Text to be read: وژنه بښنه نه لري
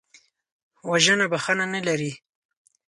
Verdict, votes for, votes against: accepted, 4, 0